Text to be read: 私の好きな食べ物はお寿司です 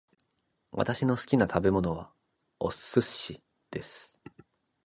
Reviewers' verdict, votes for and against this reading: accepted, 3, 0